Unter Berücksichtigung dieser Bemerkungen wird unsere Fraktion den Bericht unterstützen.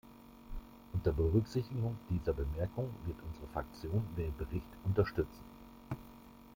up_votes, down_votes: 1, 2